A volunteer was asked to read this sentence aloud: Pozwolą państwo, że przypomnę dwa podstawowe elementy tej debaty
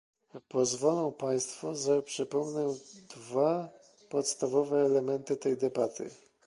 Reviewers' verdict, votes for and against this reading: accepted, 2, 0